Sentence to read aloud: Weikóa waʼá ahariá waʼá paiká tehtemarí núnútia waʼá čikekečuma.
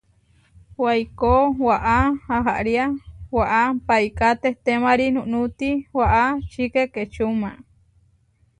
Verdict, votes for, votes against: rejected, 1, 2